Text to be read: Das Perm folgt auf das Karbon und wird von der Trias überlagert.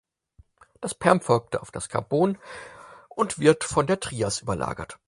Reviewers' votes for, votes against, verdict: 4, 0, accepted